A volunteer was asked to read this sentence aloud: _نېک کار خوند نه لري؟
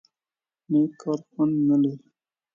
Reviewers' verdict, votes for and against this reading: accepted, 2, 1